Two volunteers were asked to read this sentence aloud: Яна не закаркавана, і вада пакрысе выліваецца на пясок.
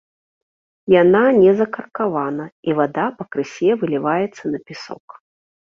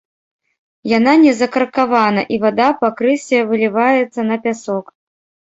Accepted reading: first